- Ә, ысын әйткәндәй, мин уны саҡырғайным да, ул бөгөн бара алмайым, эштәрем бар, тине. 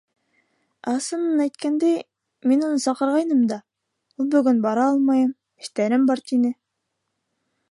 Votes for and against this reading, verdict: 0, 2, rejected